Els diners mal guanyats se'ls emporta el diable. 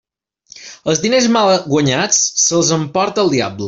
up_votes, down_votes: 1, 2